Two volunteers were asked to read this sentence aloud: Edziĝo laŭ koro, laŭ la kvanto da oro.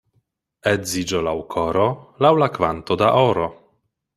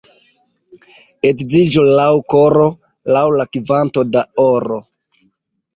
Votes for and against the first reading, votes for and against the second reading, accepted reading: 2, 0, 0, 2, first